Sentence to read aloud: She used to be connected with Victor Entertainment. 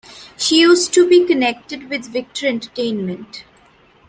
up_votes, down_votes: 2, 0